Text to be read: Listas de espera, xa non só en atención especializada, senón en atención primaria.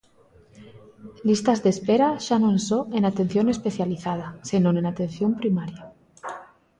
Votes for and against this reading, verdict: 2, 0, accepted